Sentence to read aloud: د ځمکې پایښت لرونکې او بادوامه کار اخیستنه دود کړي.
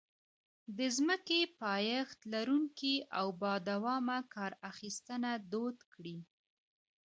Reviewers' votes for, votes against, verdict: 2, 1, accepted